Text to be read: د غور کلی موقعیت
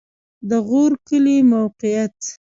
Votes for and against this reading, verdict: 2, 0, accepted